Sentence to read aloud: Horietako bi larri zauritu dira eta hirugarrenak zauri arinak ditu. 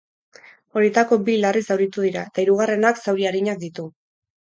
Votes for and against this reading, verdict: 4, 0, accepted